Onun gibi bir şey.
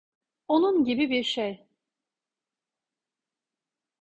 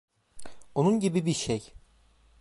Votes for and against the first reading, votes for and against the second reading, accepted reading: 2, 0, 0, 2, first